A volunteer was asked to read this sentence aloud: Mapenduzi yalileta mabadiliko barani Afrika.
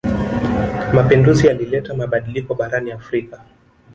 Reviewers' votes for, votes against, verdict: 0, 2, rejected